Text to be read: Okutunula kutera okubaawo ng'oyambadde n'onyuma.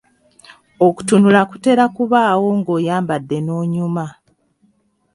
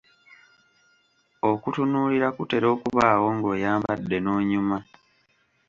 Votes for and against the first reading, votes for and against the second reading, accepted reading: 2, 0, 1, 2, first